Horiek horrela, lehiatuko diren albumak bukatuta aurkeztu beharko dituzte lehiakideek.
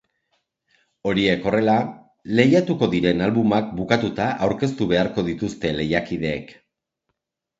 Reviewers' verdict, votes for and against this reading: accepted, 2, 0